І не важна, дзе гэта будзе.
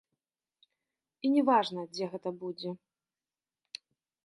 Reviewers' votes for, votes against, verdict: 2, 0, accepted